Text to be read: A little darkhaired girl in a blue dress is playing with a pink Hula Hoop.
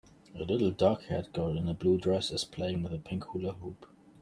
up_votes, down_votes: 2, 0